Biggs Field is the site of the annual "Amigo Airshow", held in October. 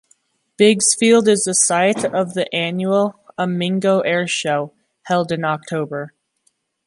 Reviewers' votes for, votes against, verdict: 2, 1, accepted